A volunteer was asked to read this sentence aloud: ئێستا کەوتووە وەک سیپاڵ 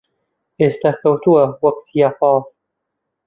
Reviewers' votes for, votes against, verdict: 0, 2, rejected